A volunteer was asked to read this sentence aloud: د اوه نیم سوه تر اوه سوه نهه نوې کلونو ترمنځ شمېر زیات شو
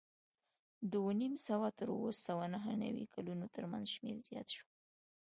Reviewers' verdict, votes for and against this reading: accepted, 2, 0